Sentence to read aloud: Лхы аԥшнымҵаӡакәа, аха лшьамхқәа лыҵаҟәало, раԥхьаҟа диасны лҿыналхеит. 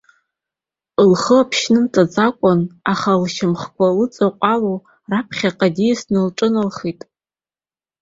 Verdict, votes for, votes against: rejected, 2, 3